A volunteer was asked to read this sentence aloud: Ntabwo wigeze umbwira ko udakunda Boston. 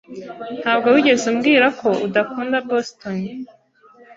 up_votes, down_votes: 2, 0